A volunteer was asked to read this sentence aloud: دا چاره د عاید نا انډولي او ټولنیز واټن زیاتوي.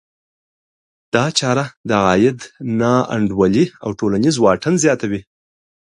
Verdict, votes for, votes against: accepted, 2, 0